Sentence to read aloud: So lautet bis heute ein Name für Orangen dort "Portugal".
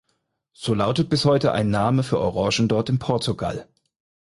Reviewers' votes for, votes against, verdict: 2, 4, rejected